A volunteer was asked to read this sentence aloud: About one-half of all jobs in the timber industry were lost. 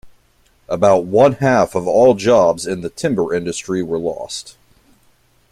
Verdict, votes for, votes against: accepted, 2, 0